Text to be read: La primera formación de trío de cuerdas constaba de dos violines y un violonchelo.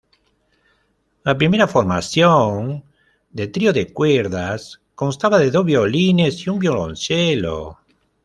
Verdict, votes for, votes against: rejected, 1, 2